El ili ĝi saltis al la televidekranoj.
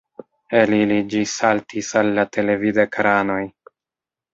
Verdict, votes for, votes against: accepted, 2, 1